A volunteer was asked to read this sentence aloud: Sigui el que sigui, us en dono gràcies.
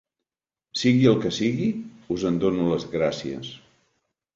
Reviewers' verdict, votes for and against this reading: rejected, 1, 2